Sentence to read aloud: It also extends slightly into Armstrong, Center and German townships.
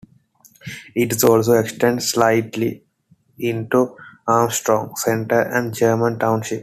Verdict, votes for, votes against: rejected, 0, 2